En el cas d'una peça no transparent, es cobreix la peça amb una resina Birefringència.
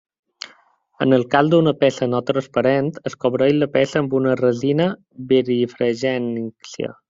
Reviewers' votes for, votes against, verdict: 0, 2, rejected